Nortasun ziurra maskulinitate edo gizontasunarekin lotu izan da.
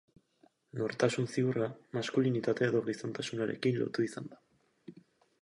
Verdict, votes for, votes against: accepted, 2, 0